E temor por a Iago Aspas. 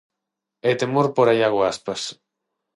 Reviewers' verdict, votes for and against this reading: accepted, 3, 0